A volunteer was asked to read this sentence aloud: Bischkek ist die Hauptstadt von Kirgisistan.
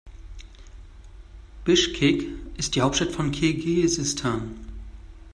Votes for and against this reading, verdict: 0, 2, rejected